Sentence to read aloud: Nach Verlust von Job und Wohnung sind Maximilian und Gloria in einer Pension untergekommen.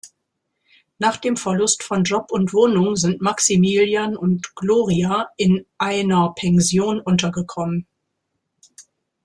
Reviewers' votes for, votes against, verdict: 0, 2, rejected